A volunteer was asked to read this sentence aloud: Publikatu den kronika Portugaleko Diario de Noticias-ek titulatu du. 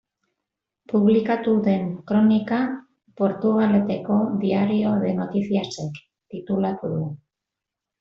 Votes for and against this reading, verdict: 0, 2, rejected